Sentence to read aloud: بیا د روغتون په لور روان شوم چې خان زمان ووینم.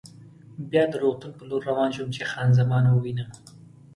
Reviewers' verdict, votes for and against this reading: accepted, 2, 0